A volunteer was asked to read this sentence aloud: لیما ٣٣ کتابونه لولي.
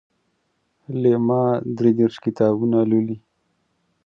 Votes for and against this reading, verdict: 0, 2, rejected